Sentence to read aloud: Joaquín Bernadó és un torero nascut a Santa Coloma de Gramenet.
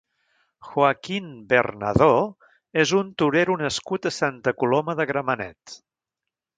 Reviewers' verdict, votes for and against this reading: rejected, 1, 2